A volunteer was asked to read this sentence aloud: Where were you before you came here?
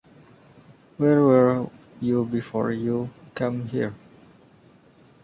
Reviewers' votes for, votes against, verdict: 0, 2, rejected